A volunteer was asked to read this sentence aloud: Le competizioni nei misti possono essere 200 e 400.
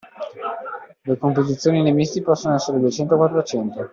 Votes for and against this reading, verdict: 0, 2, rejected